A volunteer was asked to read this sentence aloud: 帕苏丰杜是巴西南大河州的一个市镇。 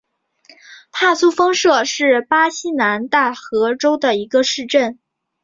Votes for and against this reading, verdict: 2, 0, accepted